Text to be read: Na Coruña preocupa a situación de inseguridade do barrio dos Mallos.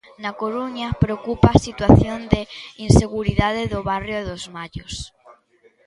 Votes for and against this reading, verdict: 2, 0, accepted